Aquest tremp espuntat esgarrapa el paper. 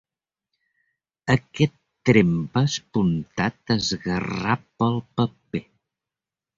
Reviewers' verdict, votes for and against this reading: rejected, 1, 2